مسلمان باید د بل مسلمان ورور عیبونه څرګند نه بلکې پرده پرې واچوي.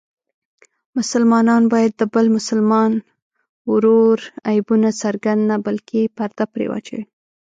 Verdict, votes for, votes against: rejected, 1, 2